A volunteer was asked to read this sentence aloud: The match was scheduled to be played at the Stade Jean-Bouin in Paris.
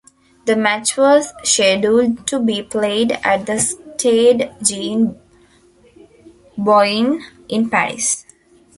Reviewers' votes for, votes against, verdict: 0, 2, rejected